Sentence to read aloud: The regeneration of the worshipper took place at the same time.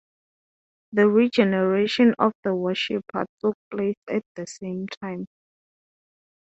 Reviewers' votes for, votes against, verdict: 6, 0, accepted